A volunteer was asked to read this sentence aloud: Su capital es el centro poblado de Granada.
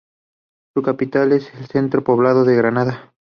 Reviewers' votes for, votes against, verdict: 2, 0, accepted